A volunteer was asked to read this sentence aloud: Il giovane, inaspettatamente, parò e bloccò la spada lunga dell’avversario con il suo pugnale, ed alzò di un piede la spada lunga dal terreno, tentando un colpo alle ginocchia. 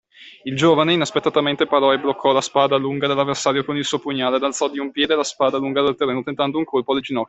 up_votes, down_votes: 2, 1